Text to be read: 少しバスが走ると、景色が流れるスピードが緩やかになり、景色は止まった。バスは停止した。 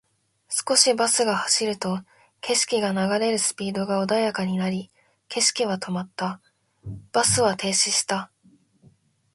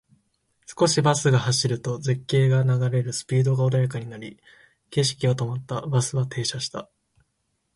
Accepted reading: first